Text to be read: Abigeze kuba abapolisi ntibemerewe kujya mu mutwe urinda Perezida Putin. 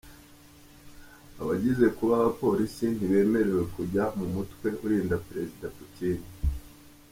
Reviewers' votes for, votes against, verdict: 3, 4, rejected